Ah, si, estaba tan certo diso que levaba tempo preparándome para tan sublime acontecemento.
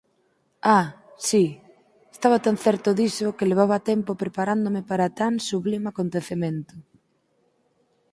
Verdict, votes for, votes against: accepted, 8, 0